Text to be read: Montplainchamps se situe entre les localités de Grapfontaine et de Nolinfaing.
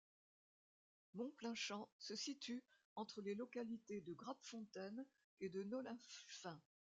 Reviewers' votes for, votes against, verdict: 1, 2, rejected